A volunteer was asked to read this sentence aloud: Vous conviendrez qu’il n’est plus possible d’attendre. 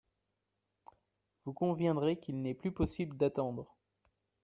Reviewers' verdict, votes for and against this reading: accepted, 2, 0